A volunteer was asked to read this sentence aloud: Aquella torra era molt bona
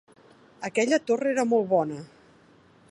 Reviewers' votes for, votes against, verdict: 2, 0, accepted